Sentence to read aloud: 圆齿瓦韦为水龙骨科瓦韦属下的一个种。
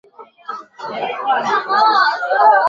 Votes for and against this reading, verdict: 1, 2, rejected